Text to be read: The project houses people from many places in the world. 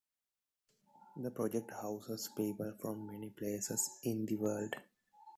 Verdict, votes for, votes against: accepted, 2, 0